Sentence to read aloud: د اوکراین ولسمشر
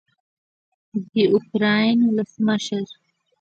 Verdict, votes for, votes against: rejected, 1, 2